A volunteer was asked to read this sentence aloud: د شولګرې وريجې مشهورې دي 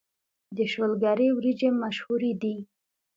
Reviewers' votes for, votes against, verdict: 2, 0, accepted